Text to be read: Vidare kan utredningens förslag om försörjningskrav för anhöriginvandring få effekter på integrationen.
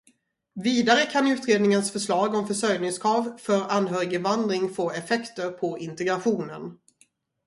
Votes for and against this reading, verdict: 2, 0, accepted